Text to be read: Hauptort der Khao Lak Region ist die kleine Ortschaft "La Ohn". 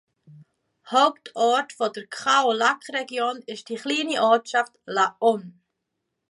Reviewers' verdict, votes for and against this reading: rejected, 0, 2